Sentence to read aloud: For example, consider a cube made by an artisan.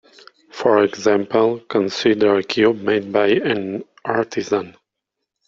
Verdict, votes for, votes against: accepted, 2, 0